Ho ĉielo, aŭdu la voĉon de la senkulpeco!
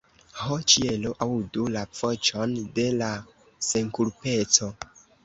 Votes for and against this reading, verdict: 2, 1, accepted